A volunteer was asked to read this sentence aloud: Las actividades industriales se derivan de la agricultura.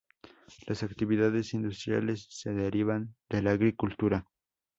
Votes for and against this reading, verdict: 0, 2, rejected